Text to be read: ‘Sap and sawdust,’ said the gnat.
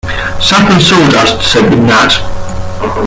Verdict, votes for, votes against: accepted, 2, 0